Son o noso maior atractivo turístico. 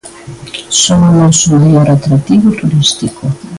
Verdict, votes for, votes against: rejected, 1, 2